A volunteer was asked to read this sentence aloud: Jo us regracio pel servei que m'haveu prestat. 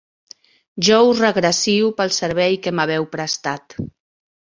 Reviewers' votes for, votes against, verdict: 3, 0, accepted